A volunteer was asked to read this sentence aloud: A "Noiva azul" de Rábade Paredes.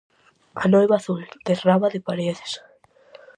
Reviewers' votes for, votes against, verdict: 4, 0, accepted